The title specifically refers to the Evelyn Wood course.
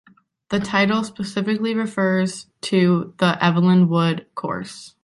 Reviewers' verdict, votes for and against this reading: accepted, 2, 0